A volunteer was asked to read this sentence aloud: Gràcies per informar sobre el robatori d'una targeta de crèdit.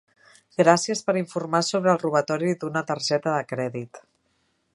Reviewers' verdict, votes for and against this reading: accepted, 3, 0